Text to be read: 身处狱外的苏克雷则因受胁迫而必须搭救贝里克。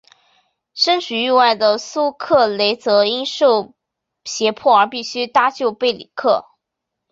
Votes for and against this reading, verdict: 2, 3, rejected